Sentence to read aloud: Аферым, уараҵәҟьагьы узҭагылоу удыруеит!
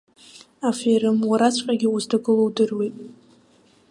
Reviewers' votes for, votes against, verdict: 2, 0, accepted